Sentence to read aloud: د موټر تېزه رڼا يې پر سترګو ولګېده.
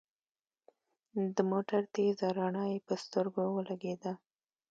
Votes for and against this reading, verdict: 2, 0, accepted